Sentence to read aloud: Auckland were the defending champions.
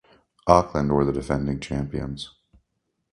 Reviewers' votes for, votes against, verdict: 2, 0, accepted